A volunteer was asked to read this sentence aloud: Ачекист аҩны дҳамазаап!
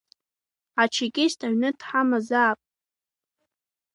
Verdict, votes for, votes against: rejected, 1, 2